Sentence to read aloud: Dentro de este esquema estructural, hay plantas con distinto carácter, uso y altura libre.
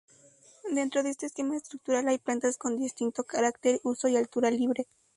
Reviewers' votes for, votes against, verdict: 2, 0, accepted